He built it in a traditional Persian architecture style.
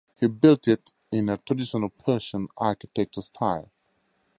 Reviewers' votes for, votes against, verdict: 4, 0, accepted